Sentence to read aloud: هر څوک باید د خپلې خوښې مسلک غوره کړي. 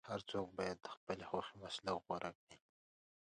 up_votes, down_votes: 2, 0